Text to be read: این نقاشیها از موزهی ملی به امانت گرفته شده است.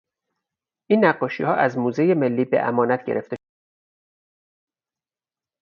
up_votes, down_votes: 2, 2